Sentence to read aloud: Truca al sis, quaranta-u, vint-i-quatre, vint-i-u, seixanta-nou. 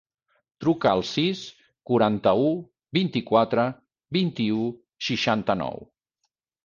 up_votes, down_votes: 3, 0